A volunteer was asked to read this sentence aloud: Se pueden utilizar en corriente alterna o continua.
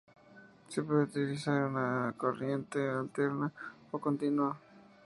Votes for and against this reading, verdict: 0, 2, rejected